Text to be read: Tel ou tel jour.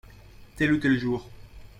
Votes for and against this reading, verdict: 2, 0, accepted